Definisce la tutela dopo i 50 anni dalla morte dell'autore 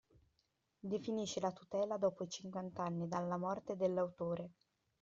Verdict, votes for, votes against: rejected, 0, 2